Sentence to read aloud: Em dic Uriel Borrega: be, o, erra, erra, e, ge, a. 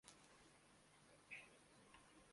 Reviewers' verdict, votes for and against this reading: rejected, 0, 2